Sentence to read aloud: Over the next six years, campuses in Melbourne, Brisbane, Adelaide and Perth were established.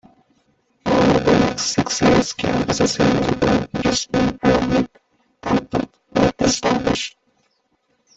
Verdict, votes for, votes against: rejected, 1, 2